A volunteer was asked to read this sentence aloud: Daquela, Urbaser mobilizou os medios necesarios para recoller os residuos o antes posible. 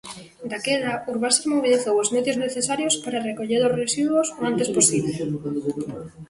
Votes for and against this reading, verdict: 1, 2, rejected